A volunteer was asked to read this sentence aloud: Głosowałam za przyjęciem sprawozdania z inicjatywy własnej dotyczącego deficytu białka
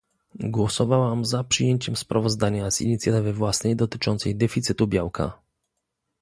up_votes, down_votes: 0, 2